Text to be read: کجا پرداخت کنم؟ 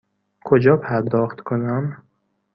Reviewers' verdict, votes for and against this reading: accepted, 2, 0